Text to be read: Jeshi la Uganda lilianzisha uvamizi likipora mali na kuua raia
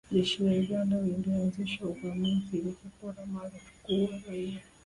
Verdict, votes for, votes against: rejected, 1, 2